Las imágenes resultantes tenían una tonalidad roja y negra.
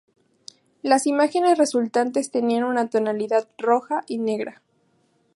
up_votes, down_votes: 2, 2